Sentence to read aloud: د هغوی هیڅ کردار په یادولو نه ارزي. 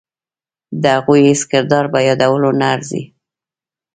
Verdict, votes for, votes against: rejected, 2, 3